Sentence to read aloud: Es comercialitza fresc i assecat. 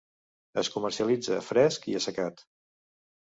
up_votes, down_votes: 2, 0